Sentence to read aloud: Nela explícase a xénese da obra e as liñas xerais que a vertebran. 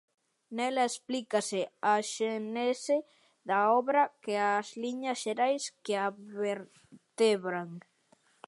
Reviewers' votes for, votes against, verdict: 0, 2, rejected